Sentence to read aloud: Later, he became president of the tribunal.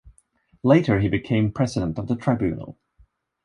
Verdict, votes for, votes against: accepted, 2, 0